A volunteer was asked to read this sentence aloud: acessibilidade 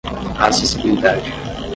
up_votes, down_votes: 0, 10